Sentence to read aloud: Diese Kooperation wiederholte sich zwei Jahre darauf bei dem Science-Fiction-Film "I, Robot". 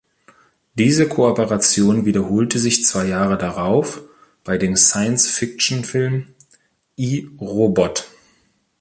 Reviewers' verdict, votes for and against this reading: rejected, 1, 2